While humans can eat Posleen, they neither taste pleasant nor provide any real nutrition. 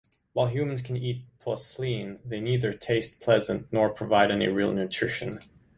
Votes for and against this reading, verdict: 2, 0, accepted